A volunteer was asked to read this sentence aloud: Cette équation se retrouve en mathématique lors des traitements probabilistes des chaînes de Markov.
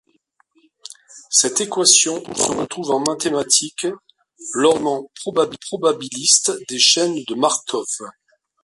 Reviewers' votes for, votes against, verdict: 0, 2, rejected